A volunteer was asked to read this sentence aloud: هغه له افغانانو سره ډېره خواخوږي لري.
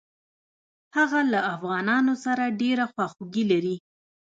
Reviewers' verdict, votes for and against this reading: rejected, 1, 2